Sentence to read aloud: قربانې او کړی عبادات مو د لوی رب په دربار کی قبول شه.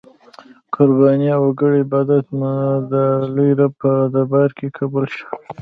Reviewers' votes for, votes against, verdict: 1, 2, rejected